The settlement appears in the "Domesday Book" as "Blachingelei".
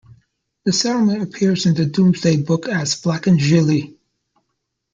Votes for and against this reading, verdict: 0, 2, rejected